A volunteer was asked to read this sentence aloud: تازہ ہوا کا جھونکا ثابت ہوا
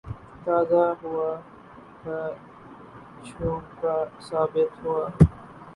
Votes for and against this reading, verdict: 0, 2, rejected